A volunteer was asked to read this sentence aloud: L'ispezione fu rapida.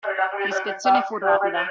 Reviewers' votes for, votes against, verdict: 2, 1, accepted